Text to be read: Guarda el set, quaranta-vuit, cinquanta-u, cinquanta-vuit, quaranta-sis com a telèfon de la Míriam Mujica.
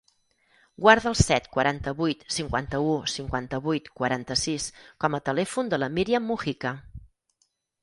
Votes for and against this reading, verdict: 4, 0, accepted